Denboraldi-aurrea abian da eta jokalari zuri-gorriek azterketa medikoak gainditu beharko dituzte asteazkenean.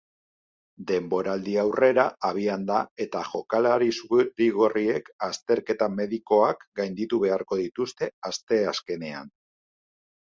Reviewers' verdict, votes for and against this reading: rejected, 1, 2